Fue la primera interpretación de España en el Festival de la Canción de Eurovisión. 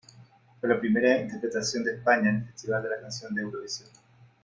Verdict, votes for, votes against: accepted, 2, 0